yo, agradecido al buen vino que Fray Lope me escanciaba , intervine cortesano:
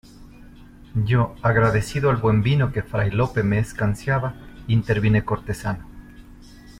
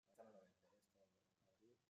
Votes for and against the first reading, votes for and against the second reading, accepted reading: 2, 0, 0, 2, first